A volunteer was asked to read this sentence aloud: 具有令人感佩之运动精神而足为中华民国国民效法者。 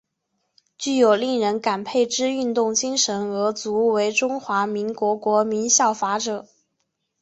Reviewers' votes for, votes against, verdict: 5, 0, accepted